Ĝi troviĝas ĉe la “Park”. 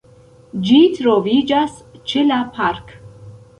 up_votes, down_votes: 0, 2